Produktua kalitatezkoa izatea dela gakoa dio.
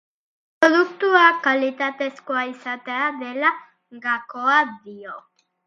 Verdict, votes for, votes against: accepted, 2, 0